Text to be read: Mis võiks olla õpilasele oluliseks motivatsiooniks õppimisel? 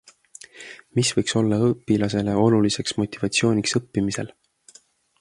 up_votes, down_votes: 2, 0